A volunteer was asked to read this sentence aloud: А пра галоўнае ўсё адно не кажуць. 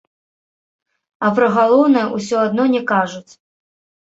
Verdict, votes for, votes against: rejected, 1, 2